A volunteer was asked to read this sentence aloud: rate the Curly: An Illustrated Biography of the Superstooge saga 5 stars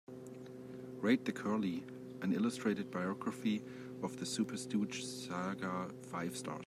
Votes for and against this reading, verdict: 0, 2, rejected